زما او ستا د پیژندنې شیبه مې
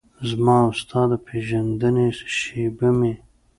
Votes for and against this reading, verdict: 2, 0, accepted